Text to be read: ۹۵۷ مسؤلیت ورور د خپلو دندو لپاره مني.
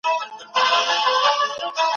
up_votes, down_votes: 0, 2